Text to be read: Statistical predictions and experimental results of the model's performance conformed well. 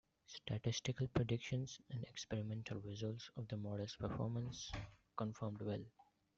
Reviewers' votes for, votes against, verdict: 0, 2, rejected